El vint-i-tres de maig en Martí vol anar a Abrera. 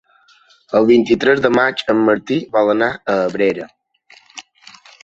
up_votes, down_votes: 3, 0